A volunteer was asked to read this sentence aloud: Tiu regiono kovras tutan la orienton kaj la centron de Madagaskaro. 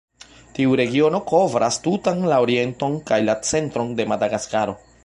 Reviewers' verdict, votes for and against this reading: rejected, 1, 2